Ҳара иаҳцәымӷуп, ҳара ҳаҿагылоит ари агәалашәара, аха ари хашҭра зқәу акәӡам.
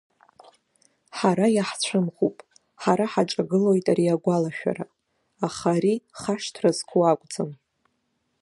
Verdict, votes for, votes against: rejected, 0, 2